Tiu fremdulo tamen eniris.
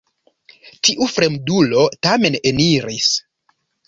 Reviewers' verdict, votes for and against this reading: accepted, 3, 0